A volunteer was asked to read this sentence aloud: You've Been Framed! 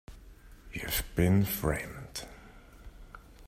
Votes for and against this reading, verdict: 2, 0, accepted